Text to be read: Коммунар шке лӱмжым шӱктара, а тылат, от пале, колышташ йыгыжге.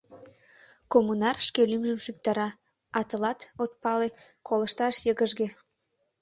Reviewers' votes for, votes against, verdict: 2, 0, accepted